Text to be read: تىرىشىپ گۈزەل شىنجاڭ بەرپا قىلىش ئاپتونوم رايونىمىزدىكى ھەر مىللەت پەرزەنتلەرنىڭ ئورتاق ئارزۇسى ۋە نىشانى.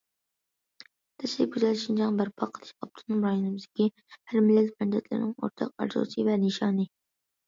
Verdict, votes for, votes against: rejected, 1, 2